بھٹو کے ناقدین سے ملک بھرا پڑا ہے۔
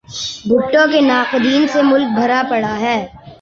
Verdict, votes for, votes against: rejected, 0, 2